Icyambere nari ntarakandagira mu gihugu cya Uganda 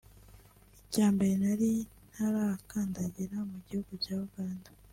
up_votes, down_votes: 2, 0